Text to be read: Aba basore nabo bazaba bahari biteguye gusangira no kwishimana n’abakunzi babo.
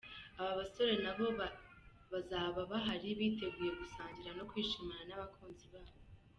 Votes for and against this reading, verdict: 0, 2, rejected